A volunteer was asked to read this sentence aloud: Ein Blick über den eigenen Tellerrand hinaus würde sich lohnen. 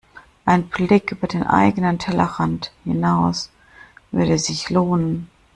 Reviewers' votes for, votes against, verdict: 1, 2, rejected